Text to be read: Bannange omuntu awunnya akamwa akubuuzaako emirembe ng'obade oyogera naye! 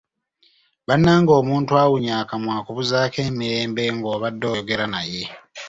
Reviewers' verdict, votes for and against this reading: accepted, 2, 0